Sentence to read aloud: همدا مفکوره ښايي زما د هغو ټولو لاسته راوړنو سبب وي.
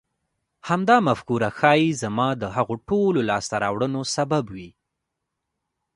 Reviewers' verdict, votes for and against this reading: accepted, 2, 1